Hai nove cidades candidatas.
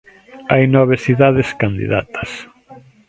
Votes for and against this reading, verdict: 1, 2, rejected